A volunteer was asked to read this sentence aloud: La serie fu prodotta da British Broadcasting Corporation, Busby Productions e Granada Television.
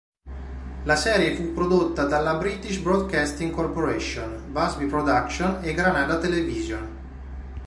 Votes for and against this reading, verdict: 0, 2, rejected